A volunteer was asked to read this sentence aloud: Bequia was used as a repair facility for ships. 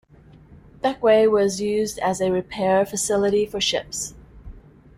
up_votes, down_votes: 0, 2